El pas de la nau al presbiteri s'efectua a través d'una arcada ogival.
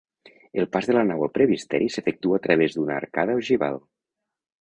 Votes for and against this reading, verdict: 1, 2, rejected